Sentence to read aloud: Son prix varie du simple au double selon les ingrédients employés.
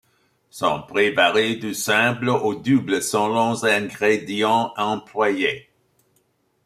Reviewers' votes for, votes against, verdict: 0, 2, rejected